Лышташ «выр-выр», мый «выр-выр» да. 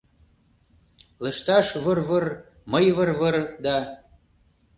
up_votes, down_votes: 2, 0